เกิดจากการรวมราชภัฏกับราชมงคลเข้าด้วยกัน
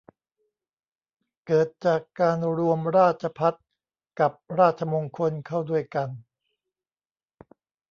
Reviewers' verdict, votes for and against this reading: accepted, 2, 0